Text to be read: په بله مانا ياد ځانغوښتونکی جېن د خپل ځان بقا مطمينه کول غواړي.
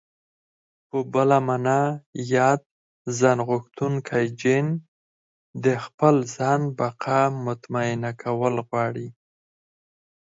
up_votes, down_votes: 4, 0